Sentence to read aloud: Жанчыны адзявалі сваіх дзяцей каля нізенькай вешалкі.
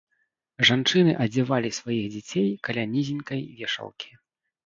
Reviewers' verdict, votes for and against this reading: rejected, 1, 2